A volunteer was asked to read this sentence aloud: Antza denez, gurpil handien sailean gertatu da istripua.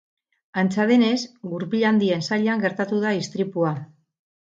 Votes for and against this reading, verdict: 0, 2, rejected